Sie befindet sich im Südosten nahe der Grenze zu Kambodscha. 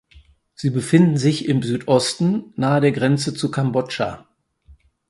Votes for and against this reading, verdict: 0, 4, rejected